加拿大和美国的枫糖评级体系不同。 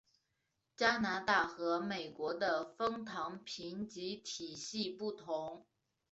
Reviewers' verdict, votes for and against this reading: accepted, 3, 1